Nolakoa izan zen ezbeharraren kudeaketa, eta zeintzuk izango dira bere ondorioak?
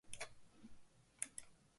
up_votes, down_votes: 0, 4